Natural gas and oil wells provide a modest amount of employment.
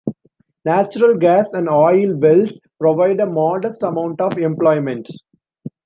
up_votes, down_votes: 2, 0